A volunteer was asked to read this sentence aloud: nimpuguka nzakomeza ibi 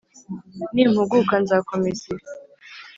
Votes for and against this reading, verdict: 3, 0, accepted